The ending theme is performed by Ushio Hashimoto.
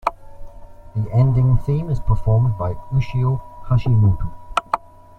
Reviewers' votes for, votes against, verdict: 2, 0, accepted